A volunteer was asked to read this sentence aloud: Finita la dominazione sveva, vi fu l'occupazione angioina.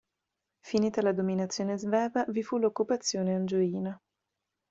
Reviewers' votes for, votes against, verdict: 2, 0, accepted